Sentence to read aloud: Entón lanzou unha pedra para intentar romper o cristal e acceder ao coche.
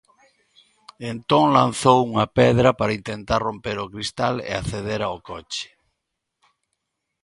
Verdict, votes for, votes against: accepted, 2, 0